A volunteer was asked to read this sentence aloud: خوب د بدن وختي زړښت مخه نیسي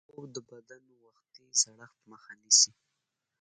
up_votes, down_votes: 2, 1